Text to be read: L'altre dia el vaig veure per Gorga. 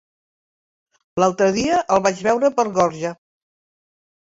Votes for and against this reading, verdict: 1, 2, rejected